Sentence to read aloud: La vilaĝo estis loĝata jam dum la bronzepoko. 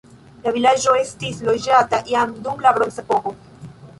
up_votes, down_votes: 3, 1